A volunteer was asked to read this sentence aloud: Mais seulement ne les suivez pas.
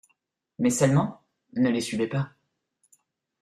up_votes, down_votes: 2, 0